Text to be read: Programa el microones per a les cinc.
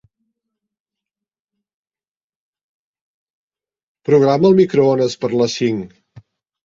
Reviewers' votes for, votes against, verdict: 3, 1, accepted